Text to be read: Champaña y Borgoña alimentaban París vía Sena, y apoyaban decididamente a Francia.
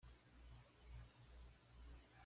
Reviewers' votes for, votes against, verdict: 1, 2, rejected